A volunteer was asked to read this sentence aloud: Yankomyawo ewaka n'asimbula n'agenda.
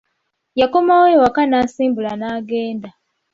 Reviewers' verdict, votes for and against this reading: rejected, 1, 2